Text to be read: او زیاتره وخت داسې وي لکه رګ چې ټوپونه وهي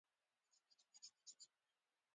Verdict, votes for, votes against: rejected, 0, 2